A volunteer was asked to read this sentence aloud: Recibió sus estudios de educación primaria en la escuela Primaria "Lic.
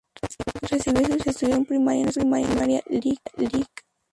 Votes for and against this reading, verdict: 2, 0, accepted